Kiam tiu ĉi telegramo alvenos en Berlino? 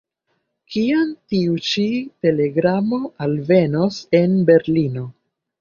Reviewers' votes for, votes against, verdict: 0, 2, rejected